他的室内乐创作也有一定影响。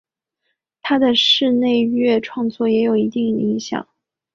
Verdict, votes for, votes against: accepted, 2, 0